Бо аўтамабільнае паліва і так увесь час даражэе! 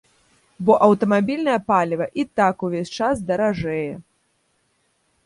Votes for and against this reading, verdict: 2, 0, accepted